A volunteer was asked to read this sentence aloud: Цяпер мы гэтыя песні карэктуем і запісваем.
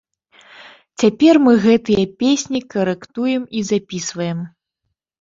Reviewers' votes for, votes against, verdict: 2, 0, accepted